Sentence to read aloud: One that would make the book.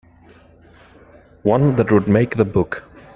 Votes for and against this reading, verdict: 1, 2, rejected